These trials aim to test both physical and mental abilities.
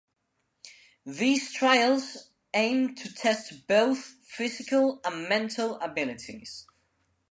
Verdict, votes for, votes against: accepted, 2, 0